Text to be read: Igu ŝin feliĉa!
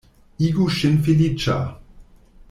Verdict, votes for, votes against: accepted, 2, 1